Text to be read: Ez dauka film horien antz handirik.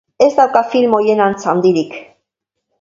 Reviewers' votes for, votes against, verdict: 1, 2, rejected